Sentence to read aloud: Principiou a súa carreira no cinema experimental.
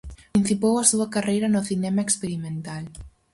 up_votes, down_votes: 2, 2